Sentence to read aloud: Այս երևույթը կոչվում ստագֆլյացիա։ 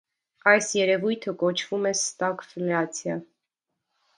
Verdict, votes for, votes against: accepted, 2, 0